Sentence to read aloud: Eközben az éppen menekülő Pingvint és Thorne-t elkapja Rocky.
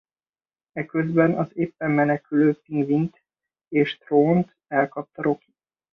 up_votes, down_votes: 0, 2